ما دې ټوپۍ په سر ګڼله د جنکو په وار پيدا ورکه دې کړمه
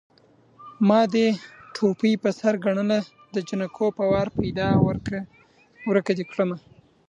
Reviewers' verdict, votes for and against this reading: accepted, 2, 1